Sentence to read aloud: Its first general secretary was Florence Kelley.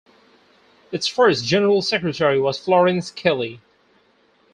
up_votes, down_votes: 4, 2